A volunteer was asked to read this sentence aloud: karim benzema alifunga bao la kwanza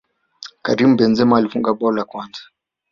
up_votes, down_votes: 1, 2